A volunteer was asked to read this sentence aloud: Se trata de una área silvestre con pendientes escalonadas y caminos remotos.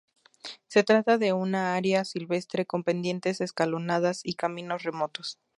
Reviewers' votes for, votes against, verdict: 0, 2, rejected